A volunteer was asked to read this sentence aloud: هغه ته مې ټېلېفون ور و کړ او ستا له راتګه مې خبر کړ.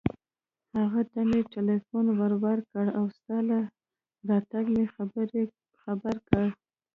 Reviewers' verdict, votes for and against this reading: accepted, 3, 1